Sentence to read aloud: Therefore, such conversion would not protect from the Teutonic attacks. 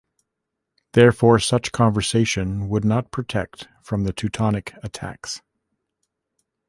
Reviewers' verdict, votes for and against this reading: rejected, 0, 2